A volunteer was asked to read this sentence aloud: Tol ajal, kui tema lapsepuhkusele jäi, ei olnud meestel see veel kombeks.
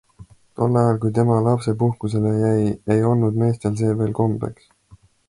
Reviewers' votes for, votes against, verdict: 2, 0, accepted